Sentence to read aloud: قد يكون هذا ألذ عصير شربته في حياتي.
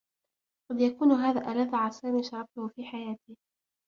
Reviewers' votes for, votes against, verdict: 0, 2, rejected